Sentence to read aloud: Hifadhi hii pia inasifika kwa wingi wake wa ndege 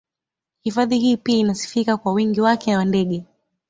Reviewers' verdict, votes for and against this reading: accepted, 2, 0